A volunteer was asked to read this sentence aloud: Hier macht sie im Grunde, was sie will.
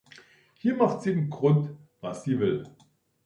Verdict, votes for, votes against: rejected, 0, 2